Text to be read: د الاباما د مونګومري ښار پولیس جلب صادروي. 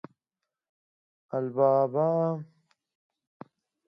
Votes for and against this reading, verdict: 0, 2, rejected